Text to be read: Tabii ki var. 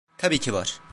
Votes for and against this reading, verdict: 2, 0, accepted